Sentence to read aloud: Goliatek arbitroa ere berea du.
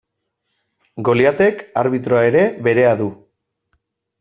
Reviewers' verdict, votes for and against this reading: accepted, 2, 0